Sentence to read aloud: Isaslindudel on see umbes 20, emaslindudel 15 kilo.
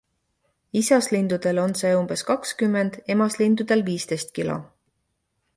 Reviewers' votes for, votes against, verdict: 0, 2, rejected